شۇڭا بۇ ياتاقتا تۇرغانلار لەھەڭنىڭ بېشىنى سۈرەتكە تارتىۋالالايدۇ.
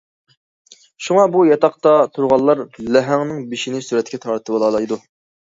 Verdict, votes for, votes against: accepted, 2, 0